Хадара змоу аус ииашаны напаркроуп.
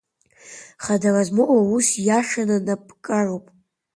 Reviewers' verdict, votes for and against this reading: rejected, 1, 2